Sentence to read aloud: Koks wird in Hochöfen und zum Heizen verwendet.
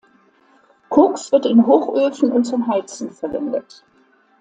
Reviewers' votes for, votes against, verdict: 2, 0, accepted